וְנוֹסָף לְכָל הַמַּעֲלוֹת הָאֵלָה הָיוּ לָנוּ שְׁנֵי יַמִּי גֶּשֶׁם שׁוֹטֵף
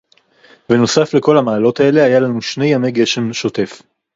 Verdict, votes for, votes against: rejected, 0, 4